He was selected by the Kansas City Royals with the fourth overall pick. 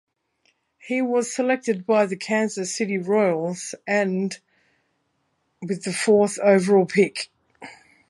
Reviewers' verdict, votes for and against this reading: rejected, 0, 2